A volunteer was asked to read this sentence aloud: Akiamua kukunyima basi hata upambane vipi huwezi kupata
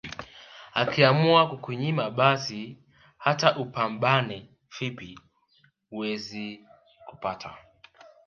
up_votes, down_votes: 1, 2